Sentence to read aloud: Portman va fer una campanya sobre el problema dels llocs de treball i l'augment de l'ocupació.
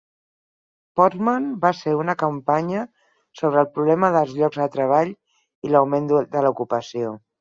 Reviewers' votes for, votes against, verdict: 0, 4, rejected